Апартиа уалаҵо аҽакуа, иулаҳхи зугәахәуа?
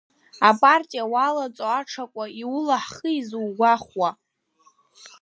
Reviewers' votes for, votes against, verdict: 2, 0, accepted